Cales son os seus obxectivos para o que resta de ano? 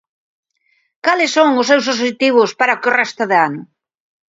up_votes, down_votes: 1, 2